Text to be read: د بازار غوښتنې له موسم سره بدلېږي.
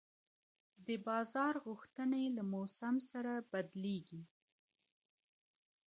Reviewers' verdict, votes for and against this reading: rejected, 0, 2